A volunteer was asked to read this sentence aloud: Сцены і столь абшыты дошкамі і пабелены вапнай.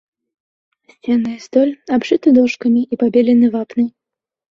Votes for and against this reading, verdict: 1, 2, rejected